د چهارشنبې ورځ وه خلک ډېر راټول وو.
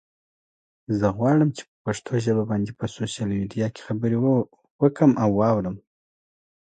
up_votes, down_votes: 1, 2